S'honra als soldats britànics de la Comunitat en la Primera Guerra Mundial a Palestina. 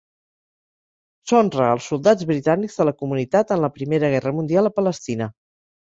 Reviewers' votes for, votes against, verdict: 2, 0, accepted